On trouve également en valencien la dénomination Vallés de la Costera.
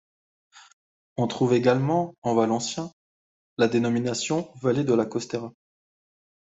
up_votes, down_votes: 2, 0